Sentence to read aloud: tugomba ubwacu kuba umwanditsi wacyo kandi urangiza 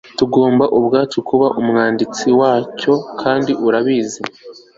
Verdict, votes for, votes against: rejected, 0, 3